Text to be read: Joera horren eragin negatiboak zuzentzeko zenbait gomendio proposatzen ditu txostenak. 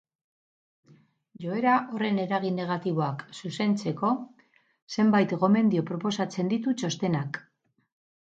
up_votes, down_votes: 2, 0